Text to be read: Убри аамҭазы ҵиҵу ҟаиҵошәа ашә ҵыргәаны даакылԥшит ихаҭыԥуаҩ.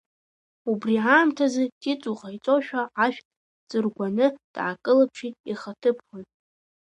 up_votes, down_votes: 1, 2